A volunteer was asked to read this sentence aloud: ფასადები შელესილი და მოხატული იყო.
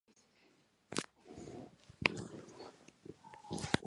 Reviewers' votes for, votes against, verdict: 0, 2, rejected